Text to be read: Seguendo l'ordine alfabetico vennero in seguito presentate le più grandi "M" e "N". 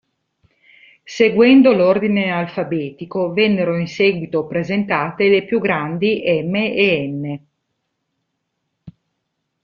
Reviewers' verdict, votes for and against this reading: accepted, 2, 0